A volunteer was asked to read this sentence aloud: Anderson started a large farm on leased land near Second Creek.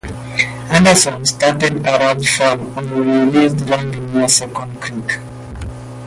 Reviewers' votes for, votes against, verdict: 0, 2, rejected